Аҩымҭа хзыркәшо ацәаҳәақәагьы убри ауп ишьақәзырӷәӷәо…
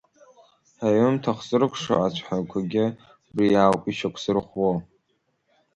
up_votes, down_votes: 0, 2